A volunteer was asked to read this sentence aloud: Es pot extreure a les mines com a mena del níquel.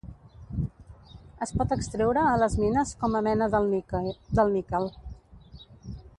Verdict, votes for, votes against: rejected, 0, 2